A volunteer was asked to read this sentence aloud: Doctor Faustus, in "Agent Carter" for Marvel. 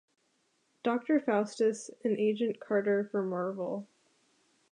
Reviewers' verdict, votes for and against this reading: accepted, 2, 0